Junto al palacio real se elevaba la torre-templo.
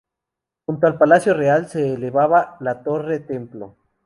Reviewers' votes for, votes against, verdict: 0, 2, rejected